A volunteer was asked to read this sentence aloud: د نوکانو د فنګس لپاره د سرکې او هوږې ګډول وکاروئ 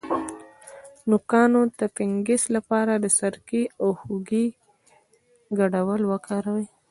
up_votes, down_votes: 1, 2